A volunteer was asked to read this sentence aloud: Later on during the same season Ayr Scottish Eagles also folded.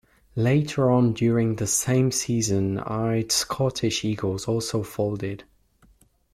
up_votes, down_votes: 1, 2